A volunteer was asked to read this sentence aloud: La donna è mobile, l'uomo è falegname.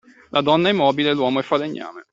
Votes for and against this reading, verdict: 2, 0, accepted